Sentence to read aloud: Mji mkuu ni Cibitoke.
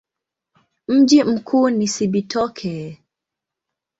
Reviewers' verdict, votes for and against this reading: accepted, 2, 0